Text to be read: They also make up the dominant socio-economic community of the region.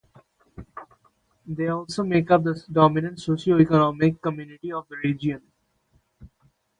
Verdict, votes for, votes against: rejected, 0, 2